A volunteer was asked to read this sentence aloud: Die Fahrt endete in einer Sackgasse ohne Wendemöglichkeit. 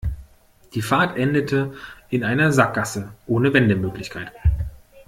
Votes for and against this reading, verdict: 2, 0, accepted